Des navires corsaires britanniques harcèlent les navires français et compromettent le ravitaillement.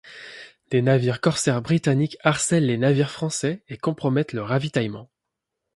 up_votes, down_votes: 1, 2